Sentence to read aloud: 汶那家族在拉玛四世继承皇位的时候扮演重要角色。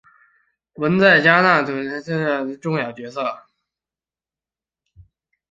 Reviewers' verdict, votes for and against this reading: rejected, 0, 2